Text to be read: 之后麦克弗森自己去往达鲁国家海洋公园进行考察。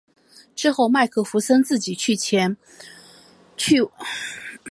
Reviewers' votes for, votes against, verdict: 0, 3, rejected